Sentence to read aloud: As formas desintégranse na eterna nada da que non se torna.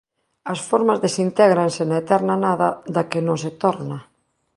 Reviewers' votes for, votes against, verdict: 2, 0, accepted